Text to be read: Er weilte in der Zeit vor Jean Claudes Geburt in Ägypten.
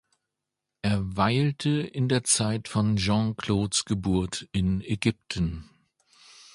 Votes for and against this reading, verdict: 0, 2, rejected